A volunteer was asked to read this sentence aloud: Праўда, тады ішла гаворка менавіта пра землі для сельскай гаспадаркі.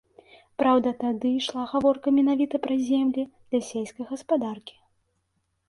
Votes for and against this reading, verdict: 2, 0, accepted